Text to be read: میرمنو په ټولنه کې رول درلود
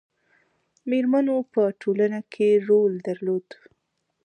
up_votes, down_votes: 2, 1